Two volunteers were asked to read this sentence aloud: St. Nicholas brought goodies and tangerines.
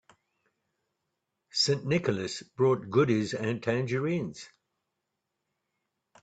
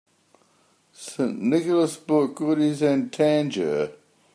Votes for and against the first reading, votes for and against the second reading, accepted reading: 3, 0, 0, 2, first